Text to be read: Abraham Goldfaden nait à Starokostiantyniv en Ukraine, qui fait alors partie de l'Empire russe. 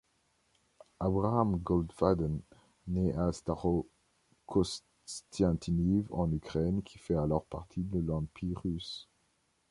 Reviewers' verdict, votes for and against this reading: accepted, 2, 0